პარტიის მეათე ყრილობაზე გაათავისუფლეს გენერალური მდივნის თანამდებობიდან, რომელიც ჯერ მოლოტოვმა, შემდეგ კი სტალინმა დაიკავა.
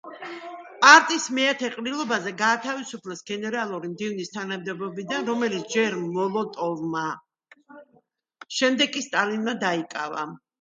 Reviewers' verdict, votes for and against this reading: accepted, 2, 0